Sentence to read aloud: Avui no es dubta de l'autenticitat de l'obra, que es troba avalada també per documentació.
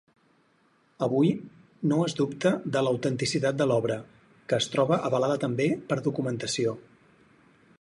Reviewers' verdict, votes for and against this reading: accepted, 4, 0